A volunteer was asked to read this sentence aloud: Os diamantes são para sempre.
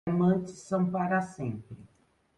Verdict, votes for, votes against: rejected, 0, 2